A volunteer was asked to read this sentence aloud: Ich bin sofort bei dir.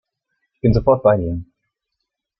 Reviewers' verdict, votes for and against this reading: rejected, 1, 2